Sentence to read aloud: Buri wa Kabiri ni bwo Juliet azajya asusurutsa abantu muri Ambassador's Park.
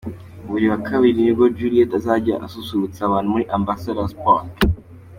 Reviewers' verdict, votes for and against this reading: accepted, 3, 2